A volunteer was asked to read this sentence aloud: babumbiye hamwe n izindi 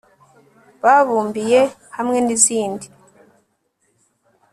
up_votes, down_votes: 3, 0